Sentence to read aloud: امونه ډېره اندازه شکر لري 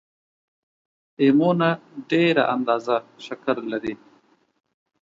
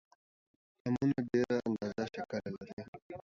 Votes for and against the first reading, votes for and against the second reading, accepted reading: 2, 1, 0, 2, first